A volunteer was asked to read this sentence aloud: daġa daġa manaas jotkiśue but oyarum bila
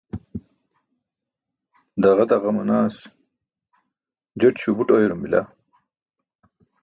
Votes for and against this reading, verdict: 1, 2, rejected